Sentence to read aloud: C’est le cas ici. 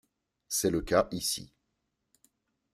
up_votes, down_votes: 2, 1